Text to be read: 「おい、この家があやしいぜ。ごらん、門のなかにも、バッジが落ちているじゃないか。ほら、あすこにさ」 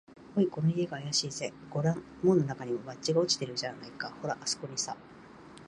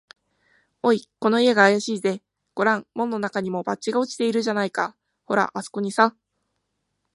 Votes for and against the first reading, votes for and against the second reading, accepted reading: 2, 2, 3, 1, second